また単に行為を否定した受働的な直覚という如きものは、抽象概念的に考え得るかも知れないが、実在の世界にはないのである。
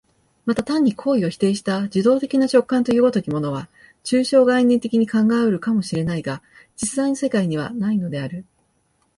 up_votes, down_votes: 5, 7